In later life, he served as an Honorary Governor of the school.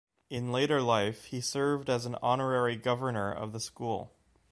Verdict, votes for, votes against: accepted, 3, 0